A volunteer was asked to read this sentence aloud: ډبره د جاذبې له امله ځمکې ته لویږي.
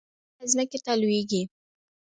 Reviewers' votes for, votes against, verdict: 0, 2, rejected